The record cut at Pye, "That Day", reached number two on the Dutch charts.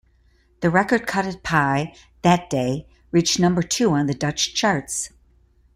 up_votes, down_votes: 2, 0